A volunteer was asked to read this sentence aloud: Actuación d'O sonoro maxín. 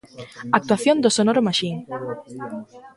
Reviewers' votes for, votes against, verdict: 1, 2, rejected